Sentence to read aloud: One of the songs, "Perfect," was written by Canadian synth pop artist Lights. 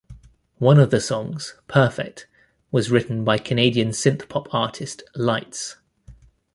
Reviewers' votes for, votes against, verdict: 2, 0, accepted